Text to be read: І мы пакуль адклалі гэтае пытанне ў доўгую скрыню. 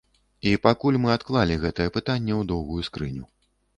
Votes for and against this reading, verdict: 1, 2, rejected